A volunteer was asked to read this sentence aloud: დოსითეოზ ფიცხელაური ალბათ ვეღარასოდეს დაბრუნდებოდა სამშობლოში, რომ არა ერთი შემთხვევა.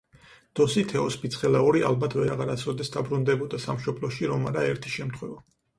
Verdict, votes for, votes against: accepted, 4, 0